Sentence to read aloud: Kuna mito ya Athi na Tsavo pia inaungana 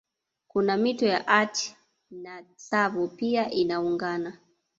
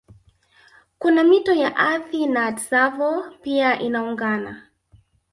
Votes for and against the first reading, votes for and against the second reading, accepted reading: 2, 0, 0, 2, first